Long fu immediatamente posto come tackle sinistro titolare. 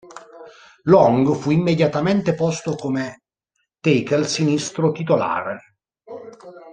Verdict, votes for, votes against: rejected, 0, 2